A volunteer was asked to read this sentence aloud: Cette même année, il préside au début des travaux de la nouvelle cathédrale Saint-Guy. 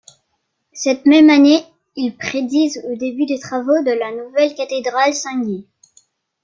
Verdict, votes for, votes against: rejected, 0, 2